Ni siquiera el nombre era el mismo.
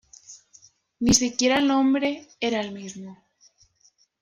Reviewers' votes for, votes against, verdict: 2, 0, accepted